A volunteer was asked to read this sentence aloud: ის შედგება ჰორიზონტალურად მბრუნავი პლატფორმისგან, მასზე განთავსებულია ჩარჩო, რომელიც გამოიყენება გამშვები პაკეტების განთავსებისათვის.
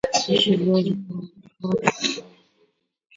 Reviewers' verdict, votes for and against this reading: rejected, 0, 2